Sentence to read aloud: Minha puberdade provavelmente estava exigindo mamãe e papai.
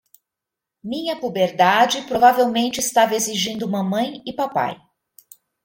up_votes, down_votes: 2, 0